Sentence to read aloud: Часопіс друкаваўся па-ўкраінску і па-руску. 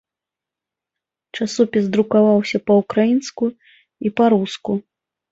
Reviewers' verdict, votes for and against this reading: accepted, 2, 0